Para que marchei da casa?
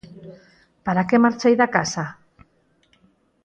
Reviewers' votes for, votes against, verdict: 4, 0, accepted